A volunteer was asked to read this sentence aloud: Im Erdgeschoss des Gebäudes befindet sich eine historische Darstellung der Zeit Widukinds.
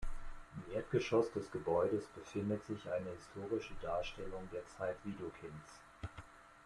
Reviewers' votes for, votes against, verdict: 0, 2, rejected